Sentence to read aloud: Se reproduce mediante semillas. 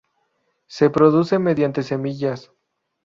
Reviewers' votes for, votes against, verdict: 2, 2, rejected